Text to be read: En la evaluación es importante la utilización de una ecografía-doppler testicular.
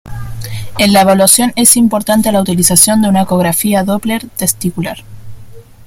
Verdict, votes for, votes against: accepted, 2, 0